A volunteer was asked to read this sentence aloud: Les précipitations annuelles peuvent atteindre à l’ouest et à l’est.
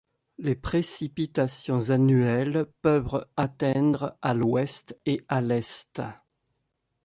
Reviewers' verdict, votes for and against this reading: accepted, 2, 1